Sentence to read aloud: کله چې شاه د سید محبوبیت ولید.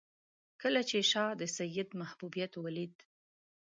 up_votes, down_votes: 2, 0